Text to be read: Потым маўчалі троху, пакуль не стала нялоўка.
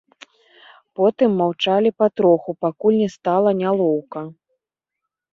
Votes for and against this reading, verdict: 1, 2, rejected